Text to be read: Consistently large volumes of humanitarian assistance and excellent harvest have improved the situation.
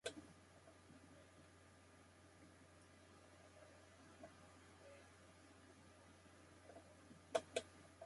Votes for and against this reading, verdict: 0, 2, rejected